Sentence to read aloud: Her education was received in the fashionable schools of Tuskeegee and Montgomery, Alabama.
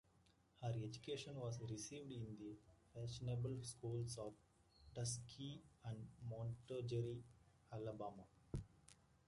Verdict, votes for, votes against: rejected, 0, 2